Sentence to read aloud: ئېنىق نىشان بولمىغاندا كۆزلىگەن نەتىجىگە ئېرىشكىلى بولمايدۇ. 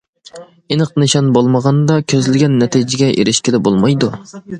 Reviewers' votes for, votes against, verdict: 2, 0, accepted